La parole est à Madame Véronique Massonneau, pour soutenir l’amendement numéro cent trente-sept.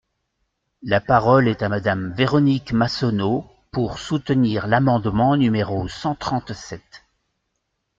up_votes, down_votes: 3, 0